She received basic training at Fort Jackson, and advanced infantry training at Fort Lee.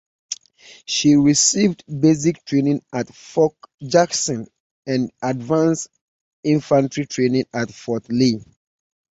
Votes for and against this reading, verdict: 2, 1, accepted